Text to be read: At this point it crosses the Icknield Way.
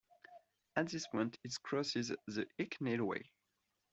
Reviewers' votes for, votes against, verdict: 1, 2, rejected